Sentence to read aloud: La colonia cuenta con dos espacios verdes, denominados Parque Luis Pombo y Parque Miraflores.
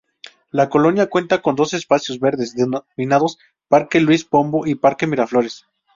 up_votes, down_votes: 2, 2